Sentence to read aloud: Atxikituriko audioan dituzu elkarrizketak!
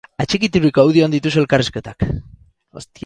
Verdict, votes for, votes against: rejected, 0, 6